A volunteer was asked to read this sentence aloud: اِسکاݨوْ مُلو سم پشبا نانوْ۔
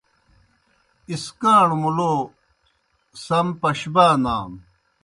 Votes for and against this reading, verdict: 0, 2, rejected